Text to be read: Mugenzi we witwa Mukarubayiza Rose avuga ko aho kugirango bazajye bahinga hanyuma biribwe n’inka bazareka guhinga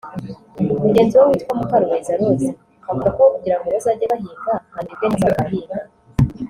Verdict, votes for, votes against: rejected, 1, 2